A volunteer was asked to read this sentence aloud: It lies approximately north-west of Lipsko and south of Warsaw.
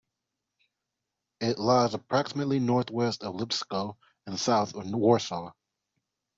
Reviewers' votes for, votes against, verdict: 0, 2, rejected